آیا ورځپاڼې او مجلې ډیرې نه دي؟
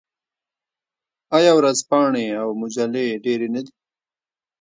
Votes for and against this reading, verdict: 1, 2, rejected